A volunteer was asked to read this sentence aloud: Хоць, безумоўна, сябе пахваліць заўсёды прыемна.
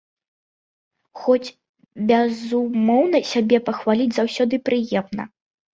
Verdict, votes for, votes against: accepted, 2, 0